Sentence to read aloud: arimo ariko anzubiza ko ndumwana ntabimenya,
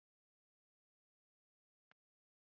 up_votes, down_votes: 1, 2